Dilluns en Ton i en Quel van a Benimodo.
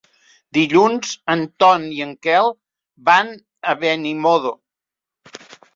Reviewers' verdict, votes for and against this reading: accepted, 3, 0